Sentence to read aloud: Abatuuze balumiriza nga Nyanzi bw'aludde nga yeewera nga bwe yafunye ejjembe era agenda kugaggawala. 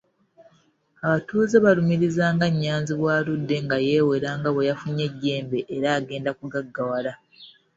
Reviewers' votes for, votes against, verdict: 2, 1, accepted